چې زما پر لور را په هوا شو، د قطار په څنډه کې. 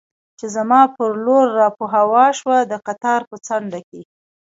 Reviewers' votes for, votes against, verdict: 2, 1, accepted